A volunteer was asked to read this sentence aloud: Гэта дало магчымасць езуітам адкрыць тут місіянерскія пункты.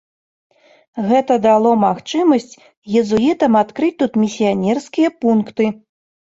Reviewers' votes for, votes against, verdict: 2, 0, accepted